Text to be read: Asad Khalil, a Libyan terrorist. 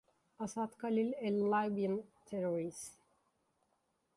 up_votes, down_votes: 2, 0